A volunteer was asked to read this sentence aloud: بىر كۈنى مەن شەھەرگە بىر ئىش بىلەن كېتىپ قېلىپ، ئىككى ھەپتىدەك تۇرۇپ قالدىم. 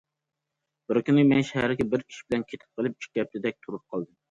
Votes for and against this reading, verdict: 2, 0, accepted